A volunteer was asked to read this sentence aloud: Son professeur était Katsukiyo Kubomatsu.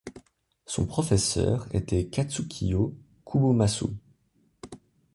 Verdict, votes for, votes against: accepted, 2, 0